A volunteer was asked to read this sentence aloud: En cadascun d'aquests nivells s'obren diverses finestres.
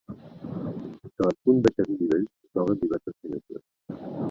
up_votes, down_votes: 0, 2